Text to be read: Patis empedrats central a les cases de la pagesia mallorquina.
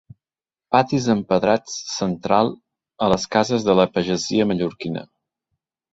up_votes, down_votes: 3, 1